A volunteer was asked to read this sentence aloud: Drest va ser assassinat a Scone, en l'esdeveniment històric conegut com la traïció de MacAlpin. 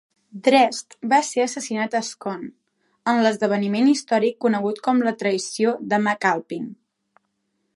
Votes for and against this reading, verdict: 2, 0, accepted